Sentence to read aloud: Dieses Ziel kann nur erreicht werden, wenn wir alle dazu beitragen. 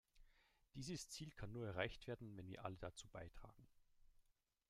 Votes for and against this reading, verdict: 2, 0, accepted